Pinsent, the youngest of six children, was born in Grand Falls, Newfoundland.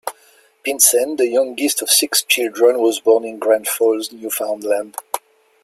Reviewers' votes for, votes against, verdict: 2, 1, accepted